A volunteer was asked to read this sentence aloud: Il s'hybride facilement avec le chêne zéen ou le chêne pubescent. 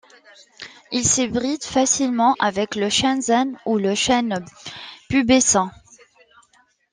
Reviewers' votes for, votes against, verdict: 2, 1, accepted